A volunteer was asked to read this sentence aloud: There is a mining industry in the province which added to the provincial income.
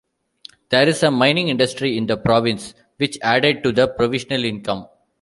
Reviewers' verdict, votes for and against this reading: rejected, 0, 2